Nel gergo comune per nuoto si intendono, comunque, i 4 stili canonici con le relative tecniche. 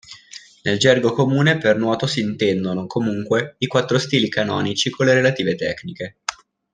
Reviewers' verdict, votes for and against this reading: rejected, 0, 2